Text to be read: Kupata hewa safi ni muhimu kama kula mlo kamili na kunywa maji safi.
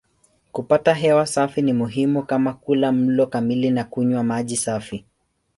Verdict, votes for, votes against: accepted, 3, 0